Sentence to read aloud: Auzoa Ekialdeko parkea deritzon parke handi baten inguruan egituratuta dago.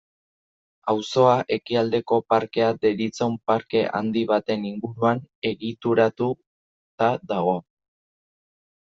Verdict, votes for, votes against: accepted, 2, 0